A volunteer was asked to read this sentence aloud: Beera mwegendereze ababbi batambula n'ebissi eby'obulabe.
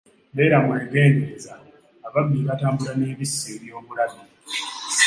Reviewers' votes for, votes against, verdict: 1, 2, rejected